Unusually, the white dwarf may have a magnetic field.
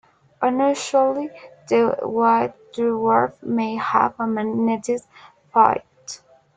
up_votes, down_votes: 0, 2